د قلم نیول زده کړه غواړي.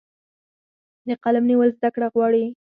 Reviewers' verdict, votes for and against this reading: rejected, 0, 4